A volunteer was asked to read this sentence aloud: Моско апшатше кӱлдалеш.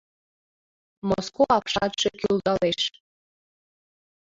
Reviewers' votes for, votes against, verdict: 2, 0, accepted